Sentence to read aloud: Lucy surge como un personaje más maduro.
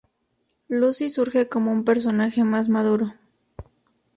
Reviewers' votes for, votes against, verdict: 2, 0, accepted